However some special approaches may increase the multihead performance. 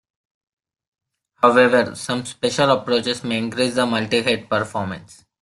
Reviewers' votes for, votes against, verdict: 2, 0, accepted